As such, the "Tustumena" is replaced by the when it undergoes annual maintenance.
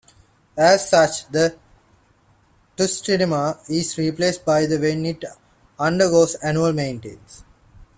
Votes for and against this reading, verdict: 2, 0, accepted